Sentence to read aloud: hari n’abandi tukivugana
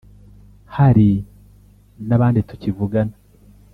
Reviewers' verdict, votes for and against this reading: rejected, 1, 2